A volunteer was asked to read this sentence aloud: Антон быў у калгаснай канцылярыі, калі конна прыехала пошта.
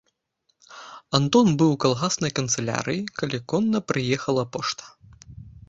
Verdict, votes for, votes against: accepted, 2, 0